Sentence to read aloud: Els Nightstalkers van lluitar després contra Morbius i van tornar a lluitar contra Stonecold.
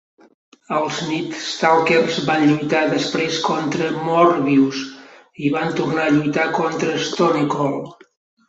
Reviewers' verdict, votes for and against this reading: rejected, 0, 2